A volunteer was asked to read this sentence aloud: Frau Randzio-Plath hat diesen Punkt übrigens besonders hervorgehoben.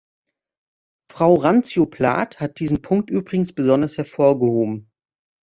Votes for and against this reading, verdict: 2, 0, accepted